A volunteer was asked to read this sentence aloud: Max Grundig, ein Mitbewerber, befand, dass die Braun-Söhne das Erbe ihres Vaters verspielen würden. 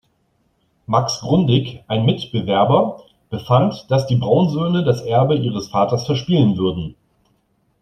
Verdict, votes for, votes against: accepted, 2, 1